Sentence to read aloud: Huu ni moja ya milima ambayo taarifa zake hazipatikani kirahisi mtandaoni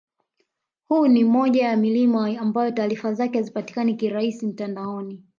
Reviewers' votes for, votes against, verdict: 3, 1, accepted